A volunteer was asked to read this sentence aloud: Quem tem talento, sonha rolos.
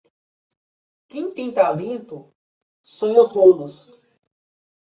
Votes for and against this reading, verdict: 1, 2, rejected